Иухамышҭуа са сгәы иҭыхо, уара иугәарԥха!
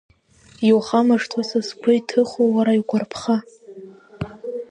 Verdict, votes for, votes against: accepted, 2, 0